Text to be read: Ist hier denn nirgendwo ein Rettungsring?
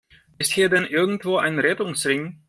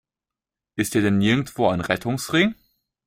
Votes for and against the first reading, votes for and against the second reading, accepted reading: 0, 2, 2, 1, second